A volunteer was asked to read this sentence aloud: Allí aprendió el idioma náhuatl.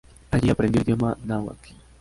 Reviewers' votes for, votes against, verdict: 2, 0, accepted